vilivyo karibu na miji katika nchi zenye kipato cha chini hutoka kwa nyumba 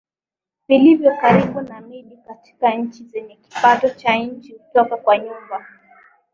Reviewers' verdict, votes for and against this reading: accepted, 3, 0